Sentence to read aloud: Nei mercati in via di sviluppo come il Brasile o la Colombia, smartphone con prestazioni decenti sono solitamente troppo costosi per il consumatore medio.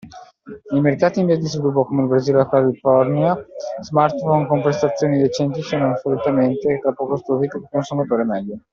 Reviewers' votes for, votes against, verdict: 0, 2, rejected